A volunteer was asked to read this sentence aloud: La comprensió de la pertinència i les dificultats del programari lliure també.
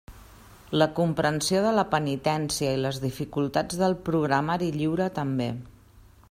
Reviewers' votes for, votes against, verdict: 0, 2, rejected